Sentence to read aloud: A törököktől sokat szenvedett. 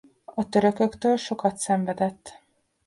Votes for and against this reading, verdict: 2, 0, accepted